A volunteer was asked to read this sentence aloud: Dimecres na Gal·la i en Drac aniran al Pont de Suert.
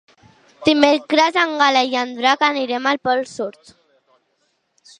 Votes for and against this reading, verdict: 0, 2, rejected